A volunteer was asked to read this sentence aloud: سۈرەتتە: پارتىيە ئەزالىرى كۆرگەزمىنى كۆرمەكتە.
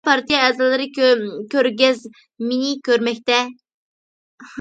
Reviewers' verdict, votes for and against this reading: rejected, 0, 2